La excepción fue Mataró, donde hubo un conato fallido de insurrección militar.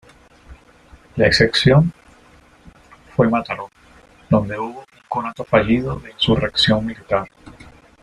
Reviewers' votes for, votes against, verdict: 0, 2, rejected